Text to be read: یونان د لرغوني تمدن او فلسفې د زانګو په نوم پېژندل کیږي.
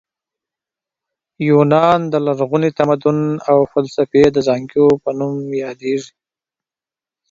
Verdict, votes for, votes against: rejected, 0, 2